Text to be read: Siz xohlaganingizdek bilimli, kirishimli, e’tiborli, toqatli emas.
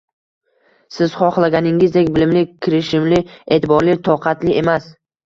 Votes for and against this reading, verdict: 2, 0, accepted